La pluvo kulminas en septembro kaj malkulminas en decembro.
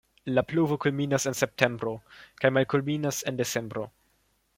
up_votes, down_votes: 2, 0